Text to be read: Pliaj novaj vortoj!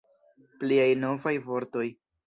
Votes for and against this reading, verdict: 2, 0, accepted